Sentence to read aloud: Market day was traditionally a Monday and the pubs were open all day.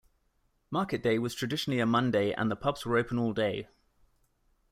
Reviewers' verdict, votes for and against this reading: accepted, 2, 0